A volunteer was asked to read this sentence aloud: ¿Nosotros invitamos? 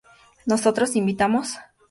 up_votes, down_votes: 2, 0